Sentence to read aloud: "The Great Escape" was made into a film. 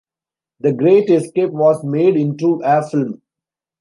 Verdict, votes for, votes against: accepted, 2, 0